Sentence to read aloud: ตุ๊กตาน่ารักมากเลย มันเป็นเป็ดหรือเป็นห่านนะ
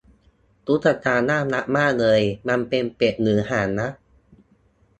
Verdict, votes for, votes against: rejected, 0, 2